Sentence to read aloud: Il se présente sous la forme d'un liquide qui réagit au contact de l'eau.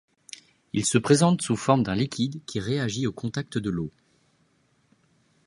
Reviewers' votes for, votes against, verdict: 1, 2, rejected